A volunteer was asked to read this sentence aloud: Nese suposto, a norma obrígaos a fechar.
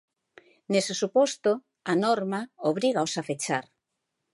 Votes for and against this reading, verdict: 2, 0, accepted